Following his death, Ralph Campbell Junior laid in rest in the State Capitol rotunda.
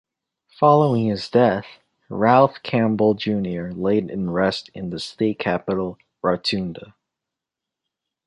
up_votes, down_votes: 1, 2